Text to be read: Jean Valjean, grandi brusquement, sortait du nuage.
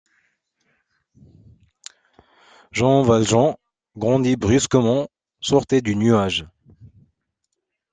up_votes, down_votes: 2, 0